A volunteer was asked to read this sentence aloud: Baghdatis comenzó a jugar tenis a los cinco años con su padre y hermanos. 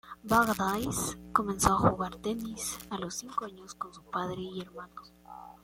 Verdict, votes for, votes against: rejected, 1, 2